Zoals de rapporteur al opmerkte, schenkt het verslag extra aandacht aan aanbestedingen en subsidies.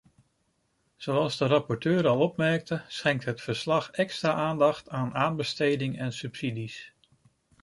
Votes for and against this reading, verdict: 0, 2, rejected